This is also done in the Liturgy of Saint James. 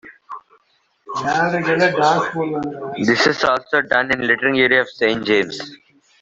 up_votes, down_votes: 0, 2